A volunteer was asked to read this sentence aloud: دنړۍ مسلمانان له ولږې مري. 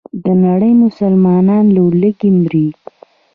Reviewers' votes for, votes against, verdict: 0, 2, rejected